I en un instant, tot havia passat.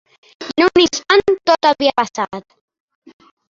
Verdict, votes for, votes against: accepted, 2, 1